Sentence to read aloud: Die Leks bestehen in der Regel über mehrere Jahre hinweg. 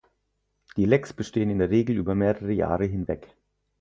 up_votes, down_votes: 2, 4